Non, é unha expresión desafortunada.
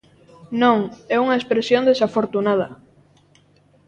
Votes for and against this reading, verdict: 2, 0, accepted